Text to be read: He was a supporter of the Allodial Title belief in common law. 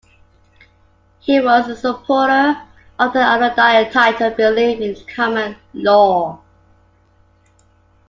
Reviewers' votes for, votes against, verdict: 0, 2, rejected